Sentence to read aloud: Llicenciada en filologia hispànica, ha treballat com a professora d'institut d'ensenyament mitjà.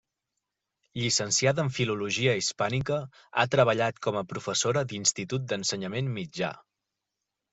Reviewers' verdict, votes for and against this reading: accepted, 3, 1